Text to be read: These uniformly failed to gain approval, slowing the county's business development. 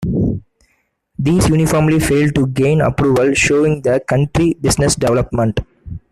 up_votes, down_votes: 0, 2